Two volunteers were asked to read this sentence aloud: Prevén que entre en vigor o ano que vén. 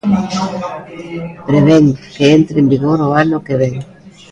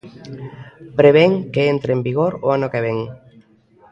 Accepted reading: second